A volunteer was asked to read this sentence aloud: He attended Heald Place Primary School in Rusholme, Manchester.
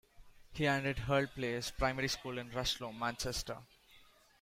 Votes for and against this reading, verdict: 0, 2, rejected